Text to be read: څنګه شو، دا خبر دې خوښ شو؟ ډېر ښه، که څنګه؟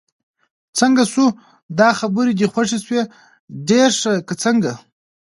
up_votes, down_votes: 1, 2